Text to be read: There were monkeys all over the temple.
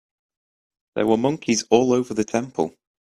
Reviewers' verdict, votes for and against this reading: accepted, 2, 0